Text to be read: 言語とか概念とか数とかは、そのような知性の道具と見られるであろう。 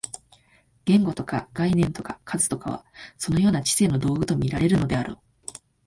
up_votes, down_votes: 2, 0